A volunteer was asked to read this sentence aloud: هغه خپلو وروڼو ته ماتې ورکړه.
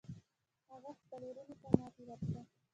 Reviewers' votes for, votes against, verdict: 2, 0, accepted